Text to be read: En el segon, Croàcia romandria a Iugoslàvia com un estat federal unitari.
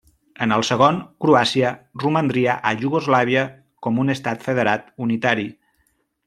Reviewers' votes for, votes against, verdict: 1, 2, rejected